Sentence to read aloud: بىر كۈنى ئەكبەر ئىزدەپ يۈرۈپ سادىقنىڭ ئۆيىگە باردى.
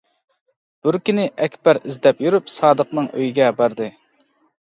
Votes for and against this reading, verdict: 2, 0, accepted